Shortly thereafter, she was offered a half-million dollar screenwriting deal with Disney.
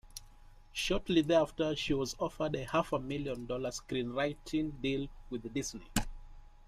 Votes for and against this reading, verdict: 2, 0, accepted